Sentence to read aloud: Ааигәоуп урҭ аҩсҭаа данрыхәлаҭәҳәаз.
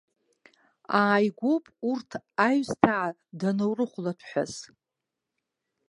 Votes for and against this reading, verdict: 2, 1, accepted